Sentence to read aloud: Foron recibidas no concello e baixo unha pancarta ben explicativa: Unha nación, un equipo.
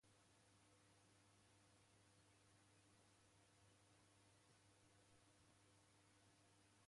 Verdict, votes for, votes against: rejected, 0, 2